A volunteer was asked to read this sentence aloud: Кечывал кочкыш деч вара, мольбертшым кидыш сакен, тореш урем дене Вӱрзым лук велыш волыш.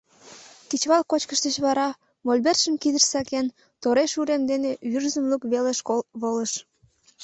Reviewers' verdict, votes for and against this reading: rejected, 1, 2